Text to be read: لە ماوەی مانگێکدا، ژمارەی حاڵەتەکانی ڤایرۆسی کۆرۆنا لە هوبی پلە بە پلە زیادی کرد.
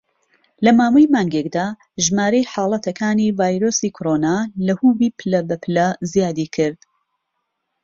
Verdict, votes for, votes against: accepted, 2, 1